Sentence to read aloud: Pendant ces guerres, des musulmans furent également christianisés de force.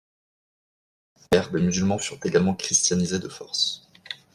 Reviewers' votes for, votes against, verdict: 1, 2, rejected